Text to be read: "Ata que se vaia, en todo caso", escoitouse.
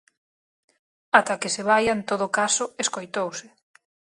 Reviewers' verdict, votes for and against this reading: accepted, 4, 0